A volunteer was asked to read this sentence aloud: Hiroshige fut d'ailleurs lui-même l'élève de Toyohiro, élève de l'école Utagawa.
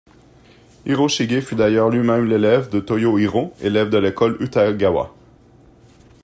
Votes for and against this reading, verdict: 1, 2, rejected